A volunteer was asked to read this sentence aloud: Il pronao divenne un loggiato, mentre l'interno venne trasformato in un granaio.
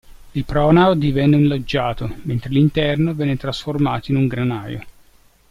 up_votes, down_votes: 1, 2